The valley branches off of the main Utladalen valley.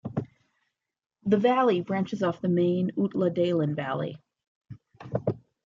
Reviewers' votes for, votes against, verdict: 0, 2, rejected